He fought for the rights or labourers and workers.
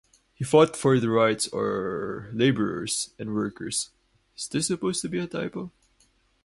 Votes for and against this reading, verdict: 0, 2, rejected